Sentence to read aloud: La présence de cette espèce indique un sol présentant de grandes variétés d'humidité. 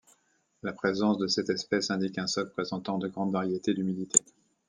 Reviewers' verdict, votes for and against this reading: accepted, 2, 0